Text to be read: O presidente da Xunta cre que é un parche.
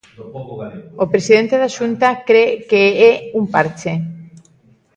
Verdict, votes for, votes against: rejected, 1, 2